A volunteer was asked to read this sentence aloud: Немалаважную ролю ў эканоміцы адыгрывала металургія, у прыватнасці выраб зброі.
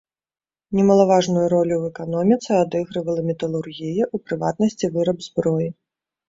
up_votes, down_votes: 2, 0